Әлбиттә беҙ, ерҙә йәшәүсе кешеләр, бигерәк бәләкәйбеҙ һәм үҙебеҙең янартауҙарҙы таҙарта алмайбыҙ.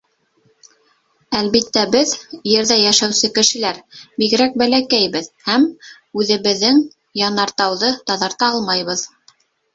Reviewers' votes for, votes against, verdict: 0, 2, rejected